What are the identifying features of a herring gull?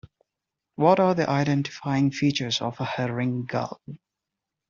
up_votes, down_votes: 2, 1